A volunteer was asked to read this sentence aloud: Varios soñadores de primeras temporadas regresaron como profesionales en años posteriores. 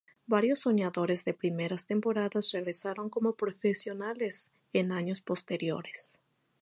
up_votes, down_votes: 4, 0